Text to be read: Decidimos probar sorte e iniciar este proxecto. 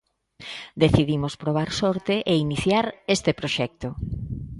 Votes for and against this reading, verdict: 2, 0, accepted